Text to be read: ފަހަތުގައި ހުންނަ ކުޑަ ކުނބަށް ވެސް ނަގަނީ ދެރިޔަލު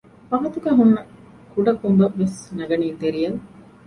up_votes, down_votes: 0, 2